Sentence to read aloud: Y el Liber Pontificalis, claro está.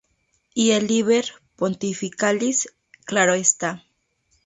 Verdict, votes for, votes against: accepted, 2, 0